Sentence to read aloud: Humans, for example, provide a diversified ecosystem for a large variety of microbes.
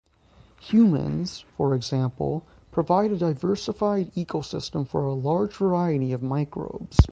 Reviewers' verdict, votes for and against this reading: accepted, 6, 3